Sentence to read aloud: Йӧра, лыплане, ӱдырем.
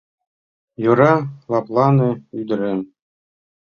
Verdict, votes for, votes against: accepted, 2, 0